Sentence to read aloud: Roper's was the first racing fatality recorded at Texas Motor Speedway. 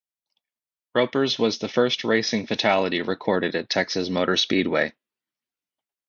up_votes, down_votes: 4, 2